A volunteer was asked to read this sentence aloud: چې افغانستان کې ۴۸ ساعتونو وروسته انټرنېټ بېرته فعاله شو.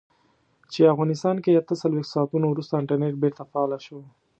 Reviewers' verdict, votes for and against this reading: rejected, 0, 2